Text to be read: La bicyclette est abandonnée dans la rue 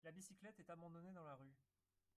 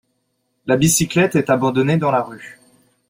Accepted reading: second